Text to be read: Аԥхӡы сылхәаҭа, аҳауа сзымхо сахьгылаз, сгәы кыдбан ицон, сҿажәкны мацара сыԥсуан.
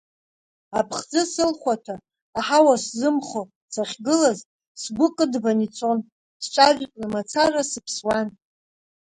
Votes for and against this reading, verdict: 2, 0, accepted